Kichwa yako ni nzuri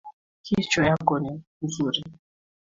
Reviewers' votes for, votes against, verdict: 2, 1, accepted